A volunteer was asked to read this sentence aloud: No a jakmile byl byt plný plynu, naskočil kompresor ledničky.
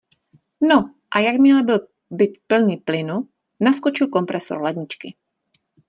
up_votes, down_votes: 0, 2